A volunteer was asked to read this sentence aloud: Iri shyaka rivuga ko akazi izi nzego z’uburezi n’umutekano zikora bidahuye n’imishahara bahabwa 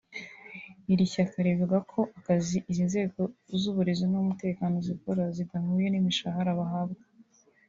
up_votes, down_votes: 1, 2